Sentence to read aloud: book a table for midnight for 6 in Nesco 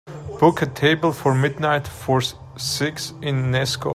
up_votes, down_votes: 0, 2